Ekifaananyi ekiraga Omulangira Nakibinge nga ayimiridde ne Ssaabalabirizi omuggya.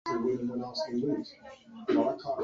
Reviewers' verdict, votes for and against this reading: rejected, 0, 2